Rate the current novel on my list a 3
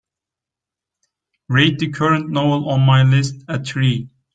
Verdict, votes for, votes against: rejected, 0, 2